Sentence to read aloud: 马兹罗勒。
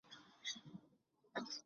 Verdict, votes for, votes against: rejected, 0, 2